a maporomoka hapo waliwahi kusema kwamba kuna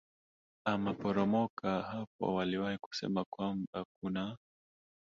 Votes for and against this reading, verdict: 2, 0, accepted